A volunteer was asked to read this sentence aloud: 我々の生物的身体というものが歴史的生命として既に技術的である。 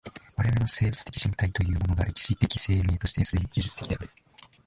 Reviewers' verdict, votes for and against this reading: rejected, 0, 2